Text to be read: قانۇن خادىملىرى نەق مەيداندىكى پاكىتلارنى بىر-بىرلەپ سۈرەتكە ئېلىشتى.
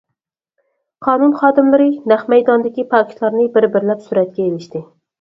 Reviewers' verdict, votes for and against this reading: accepted, 4, 0